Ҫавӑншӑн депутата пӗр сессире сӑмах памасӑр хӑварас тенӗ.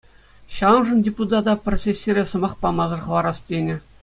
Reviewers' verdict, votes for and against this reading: accepted, 2, 0